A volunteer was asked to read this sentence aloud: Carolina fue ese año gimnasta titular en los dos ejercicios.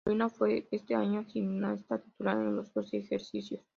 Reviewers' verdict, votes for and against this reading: accepted, 2, 0